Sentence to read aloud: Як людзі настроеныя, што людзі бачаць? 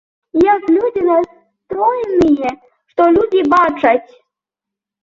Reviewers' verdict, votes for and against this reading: rejected, 1, 2